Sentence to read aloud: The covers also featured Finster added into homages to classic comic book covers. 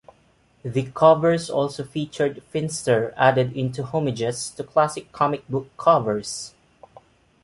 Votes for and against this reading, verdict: 2, 0, accepted